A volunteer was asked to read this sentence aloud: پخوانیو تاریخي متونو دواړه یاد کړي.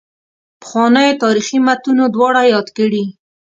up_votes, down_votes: 2, 0